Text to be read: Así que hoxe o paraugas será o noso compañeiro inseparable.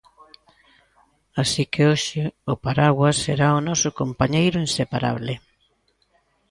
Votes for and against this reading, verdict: 0, 2, rejected